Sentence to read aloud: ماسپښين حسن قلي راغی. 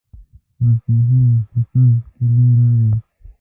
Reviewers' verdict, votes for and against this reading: rejected, 0, 2